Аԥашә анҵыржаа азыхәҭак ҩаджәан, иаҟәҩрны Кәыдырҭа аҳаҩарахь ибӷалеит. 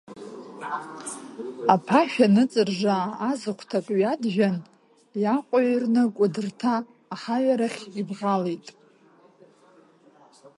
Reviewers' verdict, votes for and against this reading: rejected, 0, 2